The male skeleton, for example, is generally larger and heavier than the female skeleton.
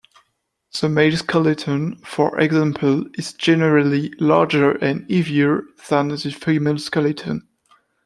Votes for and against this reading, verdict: 2, 1, accepted